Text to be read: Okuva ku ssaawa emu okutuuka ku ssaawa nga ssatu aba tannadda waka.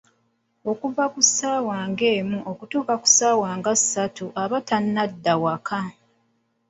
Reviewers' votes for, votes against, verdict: 0, 2, rejected